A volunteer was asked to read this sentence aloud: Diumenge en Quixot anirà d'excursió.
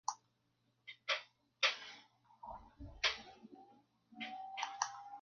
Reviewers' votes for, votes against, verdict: 0, 2, rejected